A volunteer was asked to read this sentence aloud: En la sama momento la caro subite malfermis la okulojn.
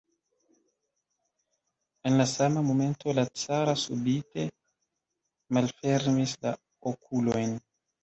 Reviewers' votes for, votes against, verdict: 2, 0, accepted